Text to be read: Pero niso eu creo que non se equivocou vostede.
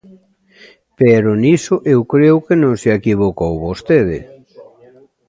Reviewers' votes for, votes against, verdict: 2, 1, accepted